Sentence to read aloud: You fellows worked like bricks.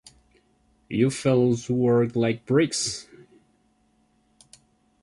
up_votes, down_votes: 2, 0